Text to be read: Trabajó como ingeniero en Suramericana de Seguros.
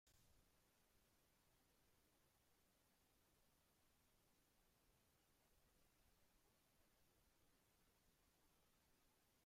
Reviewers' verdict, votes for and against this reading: rejected, 1, 2